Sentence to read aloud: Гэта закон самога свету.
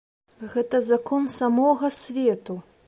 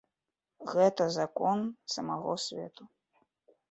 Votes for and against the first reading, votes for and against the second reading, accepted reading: 2, 0, 2, 3, first